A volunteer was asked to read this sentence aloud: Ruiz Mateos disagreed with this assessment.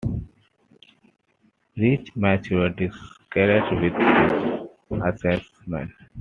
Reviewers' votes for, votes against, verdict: 2, 0, accepted